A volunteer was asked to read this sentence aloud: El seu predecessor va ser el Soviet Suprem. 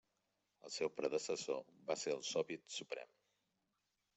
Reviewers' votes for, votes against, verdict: 2, 0, accepted